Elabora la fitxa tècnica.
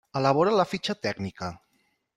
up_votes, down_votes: 3, 0